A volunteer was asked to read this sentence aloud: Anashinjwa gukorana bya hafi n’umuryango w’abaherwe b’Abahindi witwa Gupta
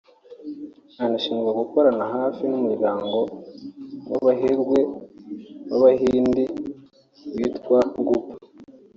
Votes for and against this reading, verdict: 0, 2, rejected